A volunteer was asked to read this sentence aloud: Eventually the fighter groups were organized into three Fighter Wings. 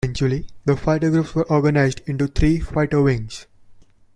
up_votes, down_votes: 0, 2